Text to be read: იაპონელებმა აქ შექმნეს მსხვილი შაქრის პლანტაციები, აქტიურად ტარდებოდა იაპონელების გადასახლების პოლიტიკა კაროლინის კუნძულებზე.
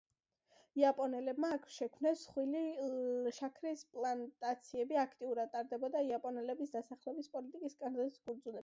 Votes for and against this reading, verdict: 1, 2, rejected